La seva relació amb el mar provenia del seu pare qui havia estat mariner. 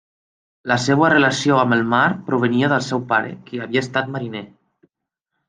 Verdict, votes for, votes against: rejected, 1, 2